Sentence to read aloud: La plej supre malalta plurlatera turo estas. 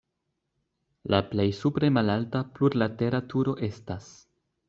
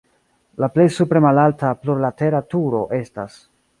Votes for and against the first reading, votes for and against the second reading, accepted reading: 2, 0, 1, 2, first